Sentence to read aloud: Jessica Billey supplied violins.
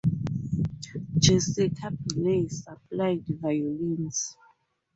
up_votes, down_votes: 4, 0